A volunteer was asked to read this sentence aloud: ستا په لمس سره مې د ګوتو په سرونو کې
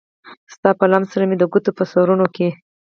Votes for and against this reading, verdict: 0, 4, rejected